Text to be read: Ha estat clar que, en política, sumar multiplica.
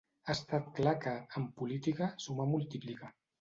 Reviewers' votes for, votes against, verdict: 2, 0, accepted